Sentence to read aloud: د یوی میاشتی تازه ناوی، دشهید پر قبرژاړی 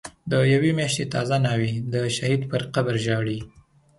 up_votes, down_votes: 2, 0